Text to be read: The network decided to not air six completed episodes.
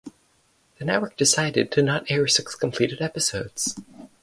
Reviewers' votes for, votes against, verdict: 2, 0, accepted